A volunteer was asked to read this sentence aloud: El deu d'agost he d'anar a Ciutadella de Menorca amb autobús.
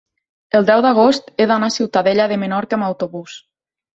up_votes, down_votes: 3, 0